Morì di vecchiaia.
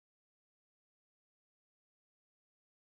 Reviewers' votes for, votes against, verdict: 0, 2, rejected